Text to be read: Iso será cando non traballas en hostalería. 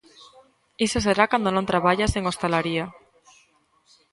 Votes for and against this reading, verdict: 0, 2, rejected